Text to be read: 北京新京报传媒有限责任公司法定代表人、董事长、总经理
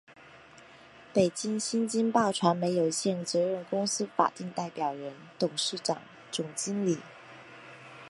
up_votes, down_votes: 3, 0